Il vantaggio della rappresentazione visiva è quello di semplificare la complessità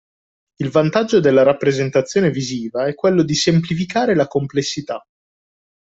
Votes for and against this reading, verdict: 2, 1, accepted